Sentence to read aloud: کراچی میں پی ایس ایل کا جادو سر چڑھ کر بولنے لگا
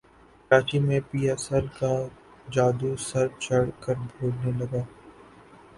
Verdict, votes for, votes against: accepted, 2, 0